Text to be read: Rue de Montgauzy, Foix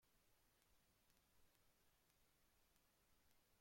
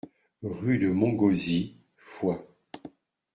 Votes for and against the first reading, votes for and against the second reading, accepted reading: 0, 2, 2, 0, second